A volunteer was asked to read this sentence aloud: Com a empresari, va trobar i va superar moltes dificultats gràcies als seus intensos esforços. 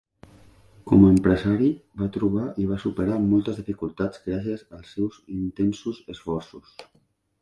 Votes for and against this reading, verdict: 3, 0, accepted